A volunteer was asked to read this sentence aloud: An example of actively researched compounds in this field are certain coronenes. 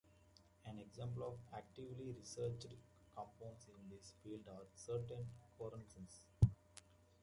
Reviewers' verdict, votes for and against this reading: rejected, 0, 2